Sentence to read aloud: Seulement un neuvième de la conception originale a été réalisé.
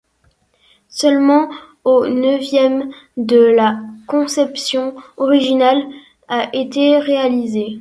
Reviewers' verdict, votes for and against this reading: rejected, 0, 2